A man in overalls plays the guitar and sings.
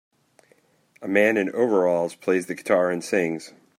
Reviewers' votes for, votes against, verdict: 4, 0, accepted